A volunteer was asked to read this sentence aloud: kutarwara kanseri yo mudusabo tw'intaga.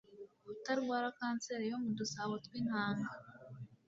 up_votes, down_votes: 2, 0